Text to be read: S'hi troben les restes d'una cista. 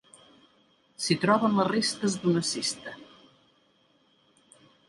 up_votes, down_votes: 2, 0